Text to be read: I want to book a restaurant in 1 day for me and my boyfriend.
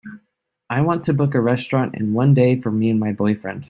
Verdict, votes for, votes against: rejected, 0, 2